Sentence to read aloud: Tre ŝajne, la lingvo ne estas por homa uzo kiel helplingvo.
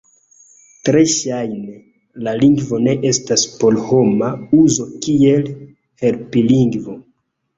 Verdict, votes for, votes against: rejected, 1, 2